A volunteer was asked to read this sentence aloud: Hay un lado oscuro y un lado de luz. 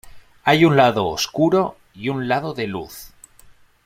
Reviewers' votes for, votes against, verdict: 2, 0, accepted